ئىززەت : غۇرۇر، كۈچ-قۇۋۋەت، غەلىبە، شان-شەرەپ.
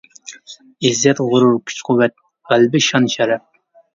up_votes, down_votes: 0, 2